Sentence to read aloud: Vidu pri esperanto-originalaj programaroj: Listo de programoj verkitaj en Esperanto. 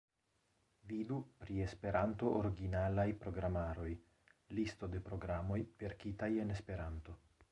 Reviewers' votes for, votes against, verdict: 1, 2, rejected